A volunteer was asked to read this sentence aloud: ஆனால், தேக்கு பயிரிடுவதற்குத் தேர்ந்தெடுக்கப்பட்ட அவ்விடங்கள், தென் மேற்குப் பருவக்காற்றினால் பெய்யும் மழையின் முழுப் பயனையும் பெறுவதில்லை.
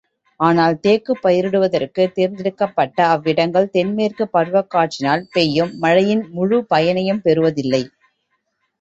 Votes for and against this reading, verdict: 2, 0, accepted